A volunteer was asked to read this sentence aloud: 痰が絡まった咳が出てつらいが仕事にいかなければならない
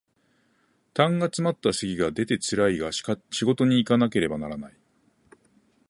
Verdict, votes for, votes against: rejected, 0, 2